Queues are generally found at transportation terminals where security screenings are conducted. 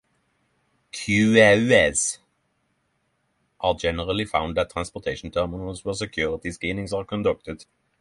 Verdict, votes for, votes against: rejected, 0, 3